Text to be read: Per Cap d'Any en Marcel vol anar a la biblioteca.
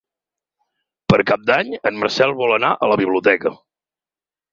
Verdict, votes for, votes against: accepted, 8, 0